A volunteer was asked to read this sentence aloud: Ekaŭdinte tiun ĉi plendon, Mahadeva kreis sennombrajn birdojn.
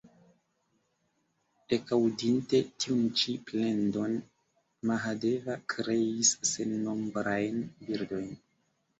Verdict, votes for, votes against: rejected, 1, 2